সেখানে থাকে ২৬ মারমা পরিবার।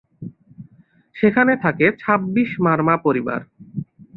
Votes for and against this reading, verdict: 0, 2, rejected